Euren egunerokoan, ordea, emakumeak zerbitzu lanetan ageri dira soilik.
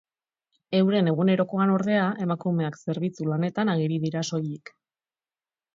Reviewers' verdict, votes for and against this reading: accepted, 8, 0